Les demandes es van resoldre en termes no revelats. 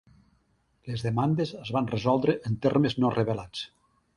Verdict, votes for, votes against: accepted, 3, 0